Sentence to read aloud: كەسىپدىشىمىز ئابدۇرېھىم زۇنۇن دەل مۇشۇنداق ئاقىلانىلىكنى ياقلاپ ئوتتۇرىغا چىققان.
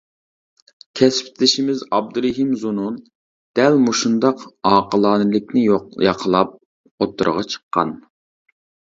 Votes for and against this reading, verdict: 0, 2, rejected